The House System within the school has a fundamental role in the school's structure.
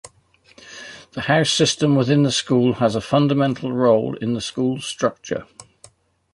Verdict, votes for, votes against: accepted, 2, 0